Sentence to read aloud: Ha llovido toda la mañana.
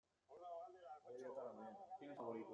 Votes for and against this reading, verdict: 0, 2, rejected